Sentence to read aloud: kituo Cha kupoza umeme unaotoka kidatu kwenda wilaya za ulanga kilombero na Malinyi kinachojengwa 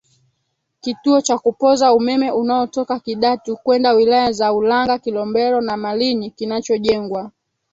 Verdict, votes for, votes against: rejected, 0, 2